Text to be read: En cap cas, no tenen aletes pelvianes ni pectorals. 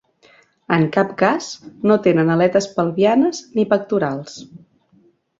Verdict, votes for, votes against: accepted, 3, 0